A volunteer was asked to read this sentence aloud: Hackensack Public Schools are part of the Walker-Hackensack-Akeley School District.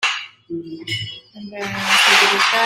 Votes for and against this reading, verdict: 0, 2, rejected